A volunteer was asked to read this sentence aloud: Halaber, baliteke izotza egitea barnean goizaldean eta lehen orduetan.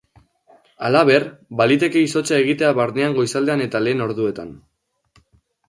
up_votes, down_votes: 2, 0